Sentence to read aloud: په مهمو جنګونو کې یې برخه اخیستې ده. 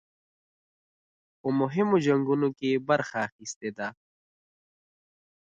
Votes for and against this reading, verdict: 2, 0, accepted